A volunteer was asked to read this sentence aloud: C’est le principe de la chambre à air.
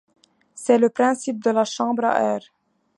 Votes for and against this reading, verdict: 3, 0, accepted